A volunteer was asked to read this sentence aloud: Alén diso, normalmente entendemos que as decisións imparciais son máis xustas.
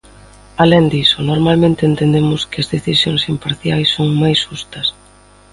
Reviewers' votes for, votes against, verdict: 2, 0, accepted